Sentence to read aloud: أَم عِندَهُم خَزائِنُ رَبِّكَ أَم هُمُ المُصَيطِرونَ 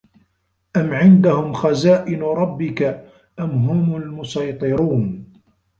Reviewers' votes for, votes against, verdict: 1, 2, rejected